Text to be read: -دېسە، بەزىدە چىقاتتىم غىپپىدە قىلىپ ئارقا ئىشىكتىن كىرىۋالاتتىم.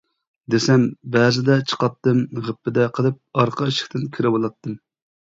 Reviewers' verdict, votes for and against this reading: rejected, 0, 2